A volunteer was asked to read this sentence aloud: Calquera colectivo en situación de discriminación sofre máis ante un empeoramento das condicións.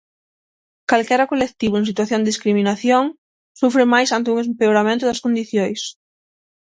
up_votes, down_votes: 0, 6